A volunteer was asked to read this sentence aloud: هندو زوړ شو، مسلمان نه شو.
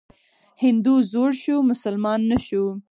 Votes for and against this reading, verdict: 6, 0, accepted